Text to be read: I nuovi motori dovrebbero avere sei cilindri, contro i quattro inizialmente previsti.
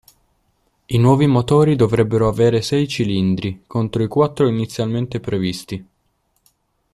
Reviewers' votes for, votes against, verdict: 3, 1, accepted